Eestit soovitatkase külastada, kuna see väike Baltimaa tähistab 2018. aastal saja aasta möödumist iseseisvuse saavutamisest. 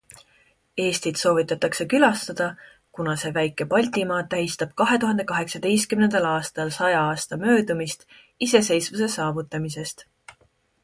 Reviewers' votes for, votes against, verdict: 0, 2, rejected